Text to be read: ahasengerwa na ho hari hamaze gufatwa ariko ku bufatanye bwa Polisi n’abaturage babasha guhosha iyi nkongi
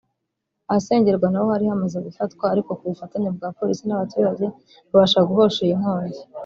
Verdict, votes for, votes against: rejected, 1, 2